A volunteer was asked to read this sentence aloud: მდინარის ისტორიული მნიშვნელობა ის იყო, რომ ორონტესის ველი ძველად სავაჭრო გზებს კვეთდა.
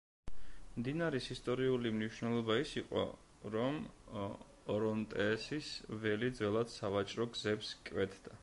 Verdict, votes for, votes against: rejected, 1, 2